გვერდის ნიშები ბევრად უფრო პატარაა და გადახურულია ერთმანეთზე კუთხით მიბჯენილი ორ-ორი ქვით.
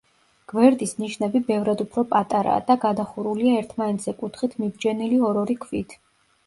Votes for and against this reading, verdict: 0, 2, rejected